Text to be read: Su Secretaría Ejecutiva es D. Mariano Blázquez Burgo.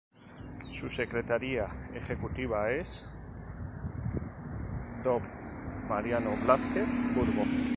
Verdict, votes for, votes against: rejected, 2, 2